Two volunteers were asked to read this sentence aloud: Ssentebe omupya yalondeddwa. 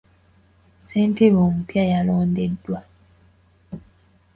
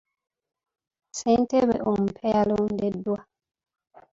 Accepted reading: first